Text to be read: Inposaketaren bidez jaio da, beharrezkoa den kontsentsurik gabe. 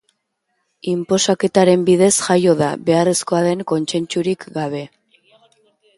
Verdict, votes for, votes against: accepted, 2, 1